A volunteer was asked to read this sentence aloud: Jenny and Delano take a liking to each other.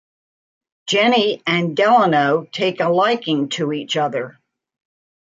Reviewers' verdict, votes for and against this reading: accepted, 2, 0